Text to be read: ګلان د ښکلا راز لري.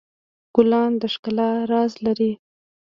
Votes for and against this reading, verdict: 1, 2, rejected